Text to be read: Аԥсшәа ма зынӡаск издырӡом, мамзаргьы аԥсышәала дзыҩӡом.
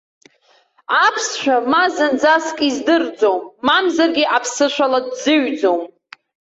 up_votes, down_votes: 0, 2